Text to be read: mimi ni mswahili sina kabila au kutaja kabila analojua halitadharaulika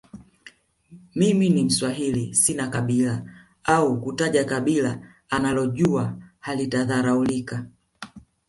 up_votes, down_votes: 2, 0